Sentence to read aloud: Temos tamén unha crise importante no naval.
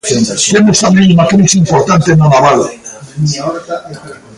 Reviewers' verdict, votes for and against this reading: rejected, 0, 2